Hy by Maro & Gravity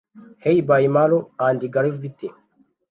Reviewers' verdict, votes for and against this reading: rejected, 0, 2